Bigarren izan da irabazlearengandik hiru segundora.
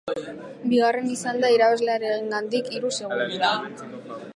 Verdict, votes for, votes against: rejected, 0, 2